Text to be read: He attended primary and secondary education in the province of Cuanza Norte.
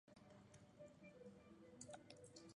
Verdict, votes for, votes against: rejected, 0, 2